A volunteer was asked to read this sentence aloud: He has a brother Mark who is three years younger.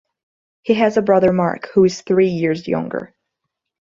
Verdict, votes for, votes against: accepted, 2, 0